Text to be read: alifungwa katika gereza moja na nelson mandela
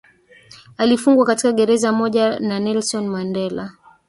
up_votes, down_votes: 2, 1